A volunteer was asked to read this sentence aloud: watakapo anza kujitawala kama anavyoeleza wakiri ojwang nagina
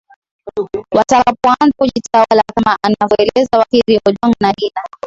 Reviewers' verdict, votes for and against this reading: rejected, 0, 2